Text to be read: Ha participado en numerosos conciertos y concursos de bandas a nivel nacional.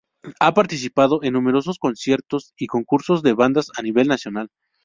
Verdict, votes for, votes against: accepted, 2, 0